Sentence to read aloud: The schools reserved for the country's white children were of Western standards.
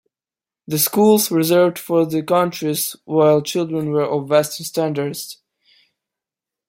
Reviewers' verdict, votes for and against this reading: rejected, 0, 2